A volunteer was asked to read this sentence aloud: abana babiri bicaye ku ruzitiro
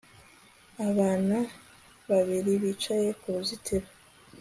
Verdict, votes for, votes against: accepted, 2, 0